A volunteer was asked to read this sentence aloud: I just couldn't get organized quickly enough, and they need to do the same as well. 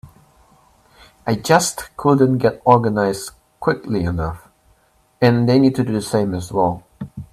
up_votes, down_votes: 2, 0